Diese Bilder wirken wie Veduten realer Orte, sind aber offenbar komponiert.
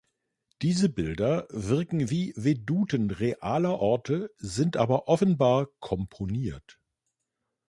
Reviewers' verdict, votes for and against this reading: accepted, 2, 0